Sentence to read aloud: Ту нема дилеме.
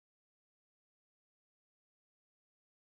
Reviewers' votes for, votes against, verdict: 0, 2, rejected